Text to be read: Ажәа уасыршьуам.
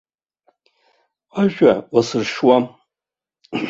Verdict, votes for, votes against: accepted, 2, 0